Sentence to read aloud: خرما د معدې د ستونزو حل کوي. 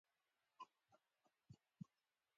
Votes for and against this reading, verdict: 2, 1, accepted